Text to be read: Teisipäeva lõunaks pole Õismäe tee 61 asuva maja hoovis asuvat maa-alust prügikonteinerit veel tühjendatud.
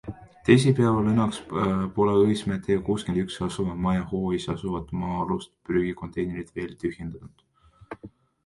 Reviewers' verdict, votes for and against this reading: rejected, 0, 2